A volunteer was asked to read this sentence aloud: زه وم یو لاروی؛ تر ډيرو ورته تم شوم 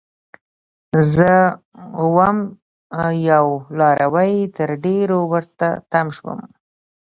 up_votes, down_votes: 2, 0